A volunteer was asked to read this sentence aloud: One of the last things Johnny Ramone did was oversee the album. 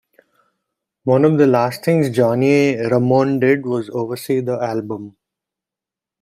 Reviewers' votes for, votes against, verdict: 1, 2, rejected